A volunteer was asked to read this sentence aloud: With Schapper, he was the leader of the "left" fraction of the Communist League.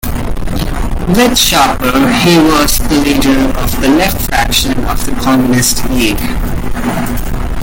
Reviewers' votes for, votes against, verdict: 2, 1, accepted